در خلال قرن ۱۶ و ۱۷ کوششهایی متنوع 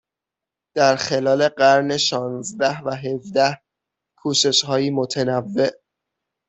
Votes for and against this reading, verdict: 0, 2, rejected